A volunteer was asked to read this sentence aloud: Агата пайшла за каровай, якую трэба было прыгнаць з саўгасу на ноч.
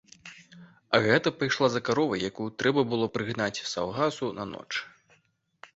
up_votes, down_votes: 2, 0